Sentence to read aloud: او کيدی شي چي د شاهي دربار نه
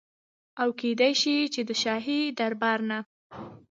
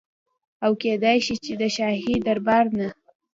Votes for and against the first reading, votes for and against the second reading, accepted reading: 1, 2, 2, 0, second